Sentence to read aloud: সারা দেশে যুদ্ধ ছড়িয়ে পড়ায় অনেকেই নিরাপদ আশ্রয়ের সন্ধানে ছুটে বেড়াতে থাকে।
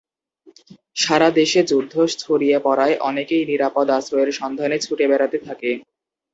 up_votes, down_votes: 2, 0